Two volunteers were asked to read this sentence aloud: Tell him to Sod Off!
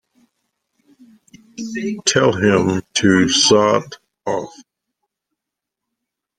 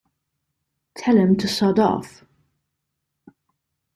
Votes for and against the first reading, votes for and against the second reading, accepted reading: 1, 2, 2, 0, second